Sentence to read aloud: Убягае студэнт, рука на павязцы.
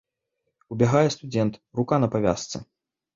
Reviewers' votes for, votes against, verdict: 0, 2, rejected